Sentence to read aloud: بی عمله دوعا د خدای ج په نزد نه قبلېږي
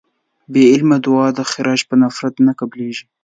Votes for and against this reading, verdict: 1, 2, rejected